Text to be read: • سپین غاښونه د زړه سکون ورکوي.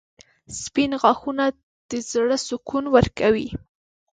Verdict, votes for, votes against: accepted, 2, 0